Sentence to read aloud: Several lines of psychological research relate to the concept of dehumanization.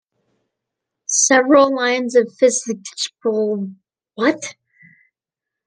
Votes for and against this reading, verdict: 0, 2, rejected